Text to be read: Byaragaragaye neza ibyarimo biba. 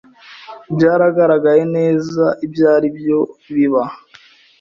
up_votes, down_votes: 0, 2